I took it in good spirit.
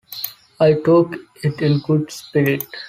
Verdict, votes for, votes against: accepted, 2, 0